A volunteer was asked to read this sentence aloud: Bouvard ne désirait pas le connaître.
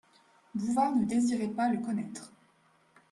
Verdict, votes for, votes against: accepted, 2, 0